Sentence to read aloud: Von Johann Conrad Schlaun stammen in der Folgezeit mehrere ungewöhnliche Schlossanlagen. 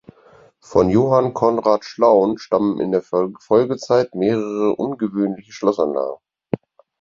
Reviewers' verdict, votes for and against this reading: rejected, 0, 4